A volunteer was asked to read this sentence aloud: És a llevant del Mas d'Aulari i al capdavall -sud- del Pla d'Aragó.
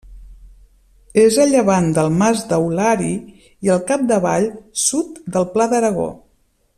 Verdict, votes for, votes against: accepted, 2, 0